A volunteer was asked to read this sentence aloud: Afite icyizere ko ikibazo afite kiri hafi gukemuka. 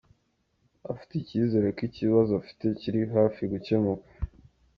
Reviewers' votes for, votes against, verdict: 2, 0, accepted